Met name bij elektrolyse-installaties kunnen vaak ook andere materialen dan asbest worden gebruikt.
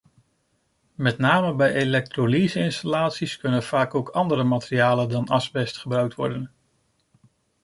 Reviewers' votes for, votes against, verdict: 0, 2, rejected